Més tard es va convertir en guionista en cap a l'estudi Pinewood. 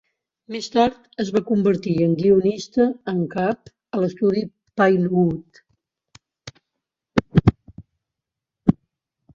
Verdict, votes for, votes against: accepted, 3, 0